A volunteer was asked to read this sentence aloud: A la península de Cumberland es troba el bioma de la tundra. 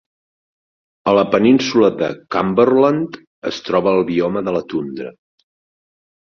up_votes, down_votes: 4, 0